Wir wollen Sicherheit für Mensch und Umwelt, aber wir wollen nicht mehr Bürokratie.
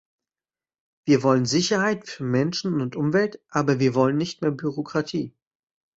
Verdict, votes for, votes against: rejected, 0, 2